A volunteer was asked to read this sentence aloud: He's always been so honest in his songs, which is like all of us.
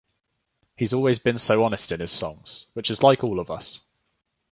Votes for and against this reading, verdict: 2, 0, accepted